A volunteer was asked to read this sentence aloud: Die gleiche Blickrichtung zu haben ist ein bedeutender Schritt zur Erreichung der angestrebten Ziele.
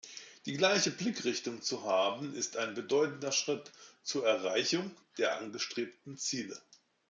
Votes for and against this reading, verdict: 2, 0, accepted